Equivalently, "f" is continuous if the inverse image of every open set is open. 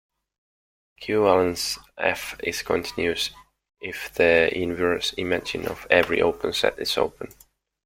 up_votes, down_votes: 0, 2